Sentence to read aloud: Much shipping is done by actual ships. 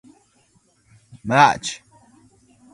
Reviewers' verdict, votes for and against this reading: rejected, 0, 2